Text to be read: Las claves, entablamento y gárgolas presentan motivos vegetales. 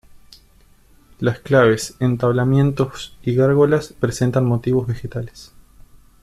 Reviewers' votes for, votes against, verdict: 1, 2, rejected